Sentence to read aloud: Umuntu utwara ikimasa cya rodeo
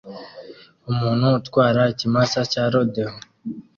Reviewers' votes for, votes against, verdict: 2, 0, accepted